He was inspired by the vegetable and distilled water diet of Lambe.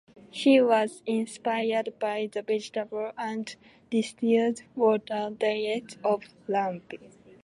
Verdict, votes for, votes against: accepted, 2, 1